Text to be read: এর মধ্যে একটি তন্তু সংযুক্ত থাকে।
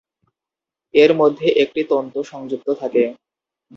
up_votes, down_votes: 2, 0